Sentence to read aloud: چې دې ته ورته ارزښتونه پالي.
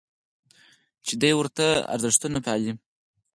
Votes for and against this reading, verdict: 2, 4, rejected